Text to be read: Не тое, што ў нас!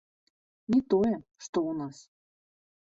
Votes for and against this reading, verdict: 1, 2, rejected